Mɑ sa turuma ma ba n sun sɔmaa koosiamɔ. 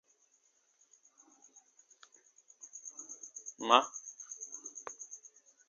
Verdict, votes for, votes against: rejected, 0, 2